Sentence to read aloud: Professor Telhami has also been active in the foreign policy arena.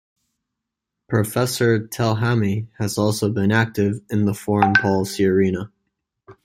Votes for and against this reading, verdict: 2, 0, accepted